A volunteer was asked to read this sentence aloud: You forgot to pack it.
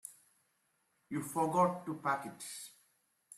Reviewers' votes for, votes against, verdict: 2, 0, accepted